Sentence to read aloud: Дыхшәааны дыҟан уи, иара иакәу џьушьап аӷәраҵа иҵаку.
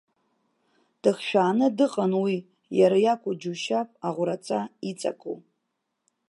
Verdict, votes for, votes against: accepted, 2, 0